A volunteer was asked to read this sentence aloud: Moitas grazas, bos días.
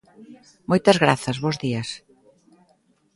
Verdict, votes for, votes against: accepted, 2, 0